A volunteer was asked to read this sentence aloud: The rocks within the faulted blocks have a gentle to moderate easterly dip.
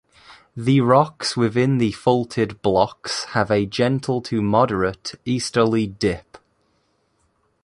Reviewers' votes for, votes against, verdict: 2, 0, accepted